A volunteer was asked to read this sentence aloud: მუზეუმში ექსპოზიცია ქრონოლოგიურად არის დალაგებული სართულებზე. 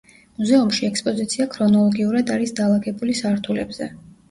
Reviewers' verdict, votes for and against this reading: rejected, 0, 2